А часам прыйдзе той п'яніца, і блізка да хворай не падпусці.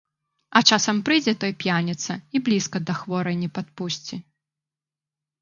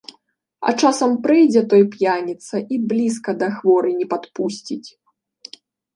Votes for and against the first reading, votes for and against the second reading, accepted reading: 2, 0, 0, 2, first